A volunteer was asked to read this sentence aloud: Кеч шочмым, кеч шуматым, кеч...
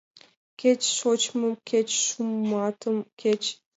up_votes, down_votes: 2, 1